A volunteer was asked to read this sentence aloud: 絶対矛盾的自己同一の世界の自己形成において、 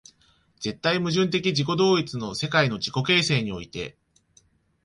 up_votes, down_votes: 2, 0